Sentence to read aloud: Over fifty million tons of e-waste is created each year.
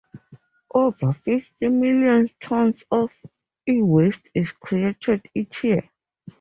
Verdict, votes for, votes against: accepted, 2, 0